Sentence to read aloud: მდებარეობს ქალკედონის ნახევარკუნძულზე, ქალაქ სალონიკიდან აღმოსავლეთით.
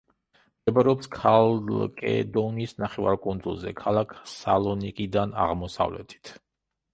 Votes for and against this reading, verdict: 1, 2, rejected